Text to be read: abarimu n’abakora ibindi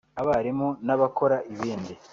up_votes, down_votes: 2, 0